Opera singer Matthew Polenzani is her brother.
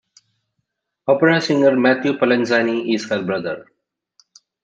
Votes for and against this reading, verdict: 1, 2, rejected